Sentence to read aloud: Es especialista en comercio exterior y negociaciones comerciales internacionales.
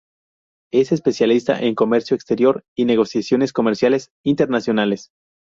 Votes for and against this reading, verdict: 2, 0, accepted